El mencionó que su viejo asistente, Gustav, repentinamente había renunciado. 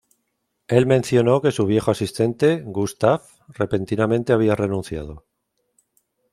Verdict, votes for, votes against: accepted, 2, 0